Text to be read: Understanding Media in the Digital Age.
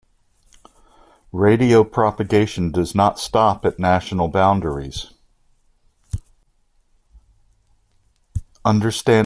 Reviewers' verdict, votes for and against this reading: rejected, 0, 2